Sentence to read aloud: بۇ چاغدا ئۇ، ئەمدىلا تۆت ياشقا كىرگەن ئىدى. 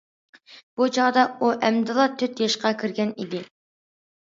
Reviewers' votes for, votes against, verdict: 2, 0, accepted